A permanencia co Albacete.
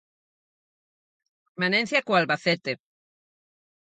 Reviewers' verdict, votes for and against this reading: rejected, 0, 4